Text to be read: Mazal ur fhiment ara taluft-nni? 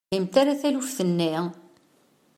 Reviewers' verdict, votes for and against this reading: rejected, 0, 2